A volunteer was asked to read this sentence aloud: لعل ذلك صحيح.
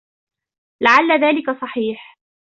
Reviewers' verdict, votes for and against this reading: rejected, 1, 2